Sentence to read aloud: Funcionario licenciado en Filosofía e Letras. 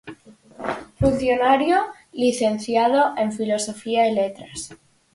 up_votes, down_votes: 4, 0